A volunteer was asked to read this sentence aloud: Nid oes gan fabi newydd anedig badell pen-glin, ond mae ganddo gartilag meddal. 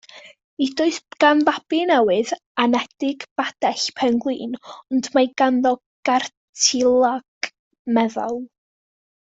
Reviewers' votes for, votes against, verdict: 2, 1, accepted